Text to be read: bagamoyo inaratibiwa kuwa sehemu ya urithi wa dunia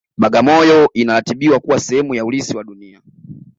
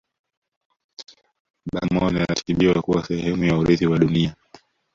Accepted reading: first